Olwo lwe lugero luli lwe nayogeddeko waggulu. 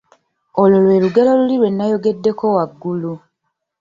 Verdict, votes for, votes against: accepted, 2, 0